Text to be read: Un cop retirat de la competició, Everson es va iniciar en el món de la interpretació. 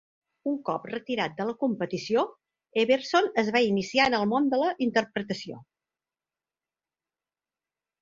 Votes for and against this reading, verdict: 5, 0, accepted